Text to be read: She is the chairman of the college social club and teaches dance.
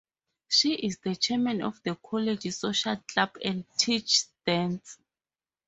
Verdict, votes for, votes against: rejected, 2, 2